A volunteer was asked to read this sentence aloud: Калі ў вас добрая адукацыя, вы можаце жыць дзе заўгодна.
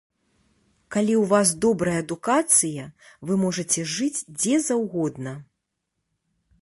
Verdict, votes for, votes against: accepted, 2, 0